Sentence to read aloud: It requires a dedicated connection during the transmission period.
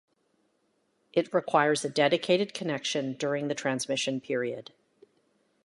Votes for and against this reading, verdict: 2, 0, accepted